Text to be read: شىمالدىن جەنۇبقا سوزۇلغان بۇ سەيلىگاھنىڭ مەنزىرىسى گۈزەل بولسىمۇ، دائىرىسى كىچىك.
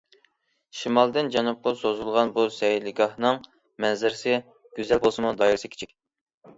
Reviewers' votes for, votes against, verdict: 2, 0, accepted